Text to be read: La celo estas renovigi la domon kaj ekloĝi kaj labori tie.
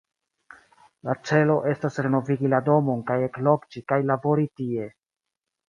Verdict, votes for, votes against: rejected, 1, 2